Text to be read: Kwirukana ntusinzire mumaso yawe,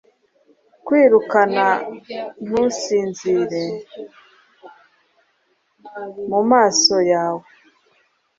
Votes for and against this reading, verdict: 2, 0, accepted